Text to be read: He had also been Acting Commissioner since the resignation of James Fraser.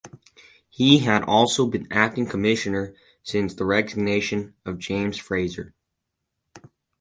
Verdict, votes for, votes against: accepted, 4, 0